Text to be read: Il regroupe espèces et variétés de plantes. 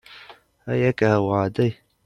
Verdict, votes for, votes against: rejected, 0, 2